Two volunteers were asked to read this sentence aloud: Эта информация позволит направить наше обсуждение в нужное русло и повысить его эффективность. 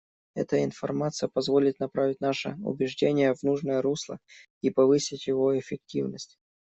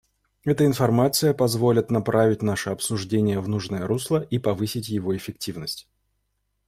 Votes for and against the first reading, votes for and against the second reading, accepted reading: 0, 3, 2, 0, second